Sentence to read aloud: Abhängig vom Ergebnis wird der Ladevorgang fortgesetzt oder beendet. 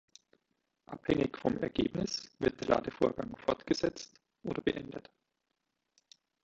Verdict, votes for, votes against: accepted, 2, 1